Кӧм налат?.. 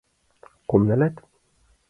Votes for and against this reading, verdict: 1, 2, rejected